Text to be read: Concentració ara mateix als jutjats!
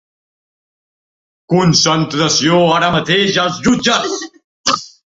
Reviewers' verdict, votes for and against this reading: rejected, 0, 2